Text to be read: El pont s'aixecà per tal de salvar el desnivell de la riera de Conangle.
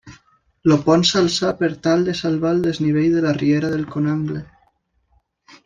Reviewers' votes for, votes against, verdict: 1, 2, rejected